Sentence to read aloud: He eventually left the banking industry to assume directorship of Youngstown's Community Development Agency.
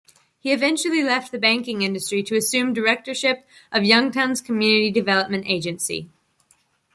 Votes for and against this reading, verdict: 2, 0, accepted